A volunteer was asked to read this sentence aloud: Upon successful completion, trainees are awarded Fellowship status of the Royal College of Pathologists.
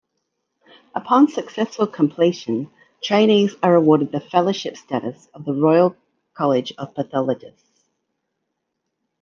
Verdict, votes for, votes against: rejected, 1, 2